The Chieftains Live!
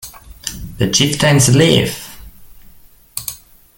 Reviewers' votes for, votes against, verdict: 0, 2, rejected